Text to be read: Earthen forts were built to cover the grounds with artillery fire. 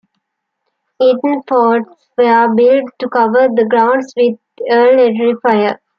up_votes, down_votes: 0, 2